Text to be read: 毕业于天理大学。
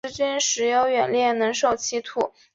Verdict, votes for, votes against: rejected, 0, 3